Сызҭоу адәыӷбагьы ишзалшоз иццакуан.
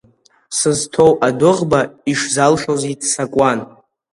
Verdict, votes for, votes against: rejected, 0, 2